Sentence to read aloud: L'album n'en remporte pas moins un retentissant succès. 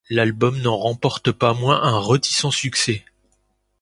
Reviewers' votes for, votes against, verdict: 0, 2, rejected